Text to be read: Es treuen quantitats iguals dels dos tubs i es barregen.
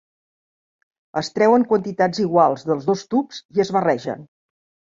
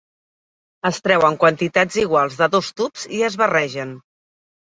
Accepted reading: first